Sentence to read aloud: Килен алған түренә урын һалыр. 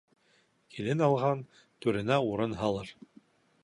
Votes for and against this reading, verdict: 2, 0, accepted